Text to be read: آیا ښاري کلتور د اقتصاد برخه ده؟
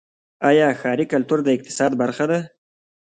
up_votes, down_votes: 1, 2